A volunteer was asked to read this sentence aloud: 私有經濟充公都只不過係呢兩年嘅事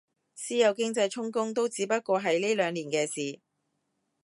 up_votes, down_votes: 2, 0